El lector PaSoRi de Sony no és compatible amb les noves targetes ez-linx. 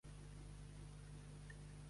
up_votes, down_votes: 1, 3